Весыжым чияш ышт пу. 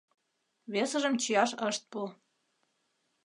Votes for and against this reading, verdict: 2, 0, accepted